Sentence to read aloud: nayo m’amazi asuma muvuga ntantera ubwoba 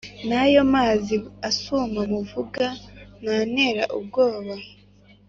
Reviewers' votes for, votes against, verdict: 2, 1, accepted